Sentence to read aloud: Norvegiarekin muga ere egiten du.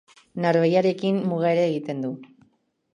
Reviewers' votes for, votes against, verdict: 2, 1, accepted